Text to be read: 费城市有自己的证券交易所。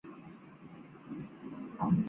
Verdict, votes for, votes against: rejected, 1, 2